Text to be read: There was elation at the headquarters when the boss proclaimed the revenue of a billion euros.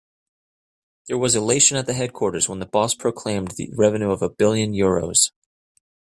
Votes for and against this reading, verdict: 2, 0, accepted